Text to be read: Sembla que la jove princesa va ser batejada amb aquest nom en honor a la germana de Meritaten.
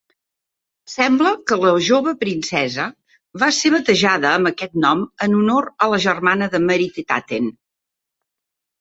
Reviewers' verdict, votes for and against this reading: rejected, 0, 2